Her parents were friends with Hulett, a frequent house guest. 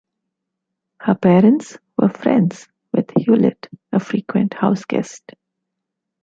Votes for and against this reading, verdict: 2, 0, accepted